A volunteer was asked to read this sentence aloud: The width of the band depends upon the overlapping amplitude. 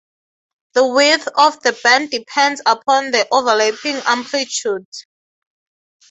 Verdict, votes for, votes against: accepted, 3, 0